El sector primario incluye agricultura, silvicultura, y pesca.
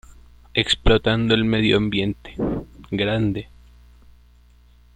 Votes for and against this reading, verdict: 0, 2, rejected